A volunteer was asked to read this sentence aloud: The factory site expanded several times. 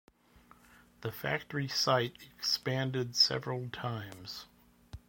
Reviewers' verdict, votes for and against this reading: accepted, 2, 0